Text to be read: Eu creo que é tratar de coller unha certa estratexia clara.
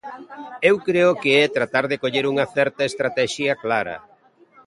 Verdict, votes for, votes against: accepted, 2, 0